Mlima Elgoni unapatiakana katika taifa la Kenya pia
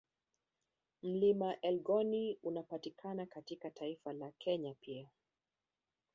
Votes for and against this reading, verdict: 0, 2, rejected